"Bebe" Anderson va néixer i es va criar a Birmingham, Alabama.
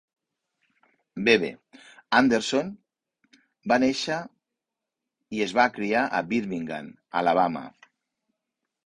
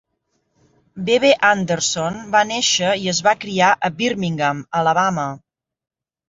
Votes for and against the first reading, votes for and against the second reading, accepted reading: 1, 2, 3, 0, second